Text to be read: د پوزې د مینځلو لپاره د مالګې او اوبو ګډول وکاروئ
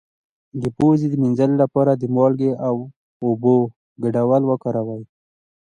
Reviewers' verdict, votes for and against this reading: accepted, 2, 0